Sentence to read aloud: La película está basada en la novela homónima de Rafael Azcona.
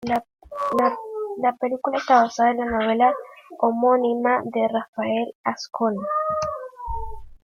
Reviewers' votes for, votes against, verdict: 1, 2, rejected